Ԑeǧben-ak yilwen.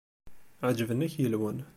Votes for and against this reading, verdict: 2, 0, accepted